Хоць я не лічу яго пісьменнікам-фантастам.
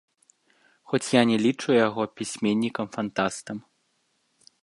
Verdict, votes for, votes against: rejected, 1, 2